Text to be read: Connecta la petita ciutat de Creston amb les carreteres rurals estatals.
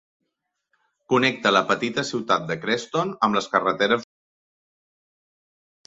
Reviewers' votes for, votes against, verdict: 0, 2, rejected